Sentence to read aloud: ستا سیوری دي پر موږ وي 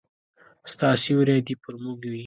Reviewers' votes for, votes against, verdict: 2, 0, accepted